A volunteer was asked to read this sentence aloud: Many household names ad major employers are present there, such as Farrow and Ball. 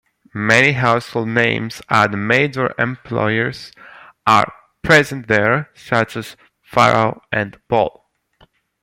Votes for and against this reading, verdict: 0, 2, rejected